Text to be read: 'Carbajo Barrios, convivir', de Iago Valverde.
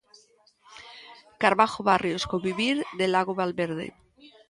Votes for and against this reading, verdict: 1, 2, rejected